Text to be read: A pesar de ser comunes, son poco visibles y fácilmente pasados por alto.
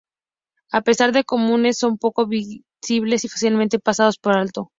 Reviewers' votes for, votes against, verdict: 0, 2, rejected